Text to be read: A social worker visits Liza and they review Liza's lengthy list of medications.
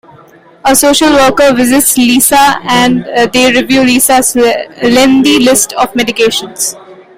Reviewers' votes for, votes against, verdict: 2, 1, accepted